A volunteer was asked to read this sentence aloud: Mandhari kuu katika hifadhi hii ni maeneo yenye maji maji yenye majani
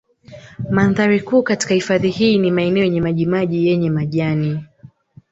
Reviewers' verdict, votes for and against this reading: accepted, 2, 1